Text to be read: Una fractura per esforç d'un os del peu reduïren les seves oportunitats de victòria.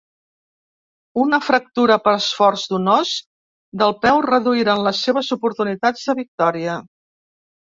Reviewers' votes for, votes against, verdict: 1, 2, rejected